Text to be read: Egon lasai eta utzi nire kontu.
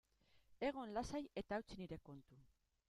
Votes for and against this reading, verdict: 2, 4, rejected